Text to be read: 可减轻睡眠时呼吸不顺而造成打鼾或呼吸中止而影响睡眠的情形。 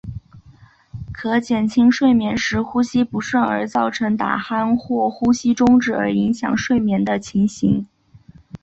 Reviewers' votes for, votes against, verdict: 4, 2, accepted